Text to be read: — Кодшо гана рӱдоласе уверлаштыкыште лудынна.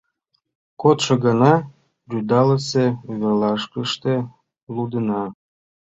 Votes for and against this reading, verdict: 1, 2, rejected